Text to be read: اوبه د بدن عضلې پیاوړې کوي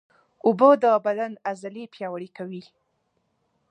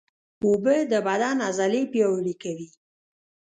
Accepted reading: first